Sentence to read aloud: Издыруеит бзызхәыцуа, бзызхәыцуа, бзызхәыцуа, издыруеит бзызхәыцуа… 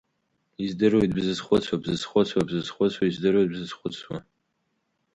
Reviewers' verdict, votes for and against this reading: rejected, 0, 2